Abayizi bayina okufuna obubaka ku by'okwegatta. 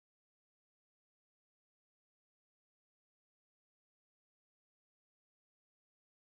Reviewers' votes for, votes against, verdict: 0, 2, rejected